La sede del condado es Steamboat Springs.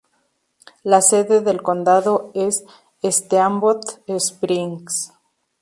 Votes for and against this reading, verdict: 2, 2, rejected